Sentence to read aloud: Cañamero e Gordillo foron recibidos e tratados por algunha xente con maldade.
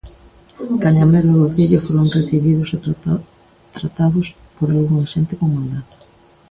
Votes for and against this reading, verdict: 0, 2, rejected